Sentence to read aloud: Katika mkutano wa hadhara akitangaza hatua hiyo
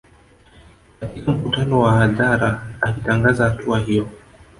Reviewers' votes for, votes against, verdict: 1, 2, rejected